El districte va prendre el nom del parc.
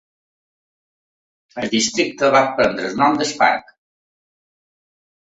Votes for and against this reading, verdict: 2, 0, accepted